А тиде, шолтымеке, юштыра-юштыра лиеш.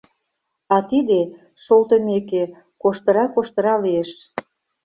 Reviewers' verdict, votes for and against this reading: rejected, 0, 2